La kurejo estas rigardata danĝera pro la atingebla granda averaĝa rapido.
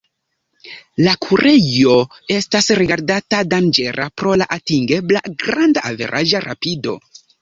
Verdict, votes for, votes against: accepted, 2, 0